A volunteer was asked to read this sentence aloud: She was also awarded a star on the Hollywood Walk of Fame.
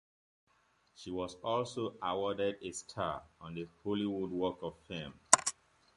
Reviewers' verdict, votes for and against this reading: accepted, 2, 0